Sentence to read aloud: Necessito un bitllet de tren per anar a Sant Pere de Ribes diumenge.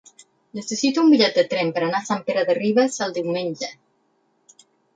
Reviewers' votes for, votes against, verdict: 2, 4, rejected